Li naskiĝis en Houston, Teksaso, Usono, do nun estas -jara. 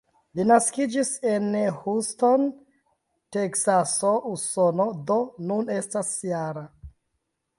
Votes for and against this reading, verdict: 2, 0, accepted